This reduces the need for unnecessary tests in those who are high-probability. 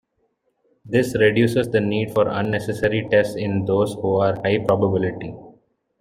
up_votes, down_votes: 0, 2